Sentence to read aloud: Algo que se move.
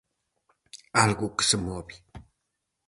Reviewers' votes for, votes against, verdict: 4, 0, accepted